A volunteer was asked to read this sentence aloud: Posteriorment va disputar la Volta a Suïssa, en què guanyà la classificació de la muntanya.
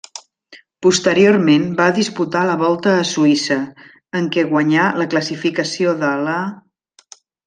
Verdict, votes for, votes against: rejected, 0, 2